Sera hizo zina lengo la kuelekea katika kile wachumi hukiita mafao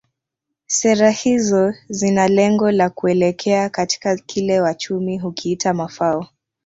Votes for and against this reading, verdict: 1, 2, rejected